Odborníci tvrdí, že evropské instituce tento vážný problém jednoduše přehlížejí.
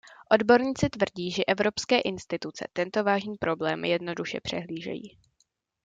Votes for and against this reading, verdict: 2, 0, accepted